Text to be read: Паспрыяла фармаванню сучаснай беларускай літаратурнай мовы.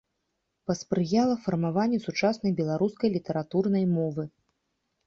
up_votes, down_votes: 2, 0